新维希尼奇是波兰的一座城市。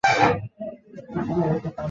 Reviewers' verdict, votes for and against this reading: rejected, 0, 2